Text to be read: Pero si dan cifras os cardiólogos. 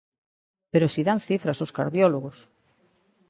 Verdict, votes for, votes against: accepted, 2, 0